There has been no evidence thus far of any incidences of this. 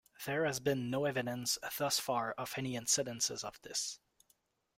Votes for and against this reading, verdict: 2, 0, accepted